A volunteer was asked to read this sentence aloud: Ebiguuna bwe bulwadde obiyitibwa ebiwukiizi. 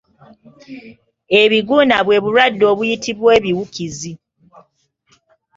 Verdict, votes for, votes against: rejected, 0, 2